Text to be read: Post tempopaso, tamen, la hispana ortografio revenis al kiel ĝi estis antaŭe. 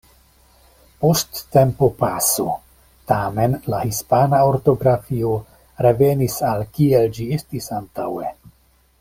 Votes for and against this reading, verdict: 2, 0, accepted